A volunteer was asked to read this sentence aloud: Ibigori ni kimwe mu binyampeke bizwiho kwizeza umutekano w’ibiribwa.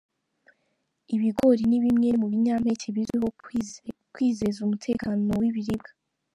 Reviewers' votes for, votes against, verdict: 0, 3, rejected